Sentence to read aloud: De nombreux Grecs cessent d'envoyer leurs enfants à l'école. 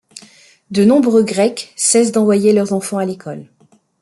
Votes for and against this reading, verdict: 2, 0, accepted